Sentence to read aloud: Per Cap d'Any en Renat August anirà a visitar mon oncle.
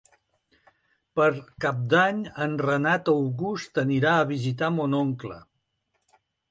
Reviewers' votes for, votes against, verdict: 2, 0, accepted